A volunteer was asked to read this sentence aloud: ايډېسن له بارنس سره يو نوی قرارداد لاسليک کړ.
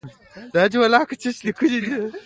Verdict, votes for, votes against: accepted, 2, 0